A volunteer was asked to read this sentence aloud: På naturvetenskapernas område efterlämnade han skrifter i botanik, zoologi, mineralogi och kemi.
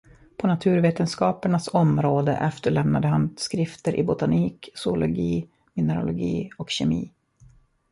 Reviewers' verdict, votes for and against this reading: accepted, 2, 1